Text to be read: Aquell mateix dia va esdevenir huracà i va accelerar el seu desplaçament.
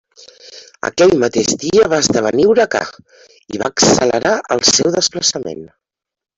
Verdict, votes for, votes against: rejected, 0, 2